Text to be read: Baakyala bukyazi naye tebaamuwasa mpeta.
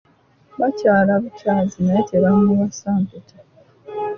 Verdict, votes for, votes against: rejected, 1, 2